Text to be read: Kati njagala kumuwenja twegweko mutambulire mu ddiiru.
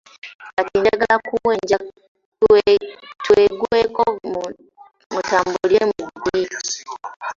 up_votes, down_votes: 0, 2